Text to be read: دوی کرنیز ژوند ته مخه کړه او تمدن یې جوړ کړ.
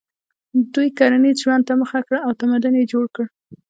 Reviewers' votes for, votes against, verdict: 1, 2, rejected